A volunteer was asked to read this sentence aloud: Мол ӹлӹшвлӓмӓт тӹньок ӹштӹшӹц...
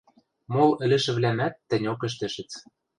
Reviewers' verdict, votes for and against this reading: rejected, 1, 2